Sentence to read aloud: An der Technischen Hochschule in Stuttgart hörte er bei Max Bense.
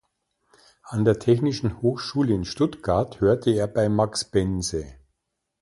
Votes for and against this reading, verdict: 2, 0, accepted